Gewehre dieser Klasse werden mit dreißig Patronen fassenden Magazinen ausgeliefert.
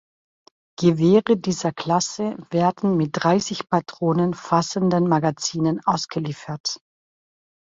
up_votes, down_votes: 2, 0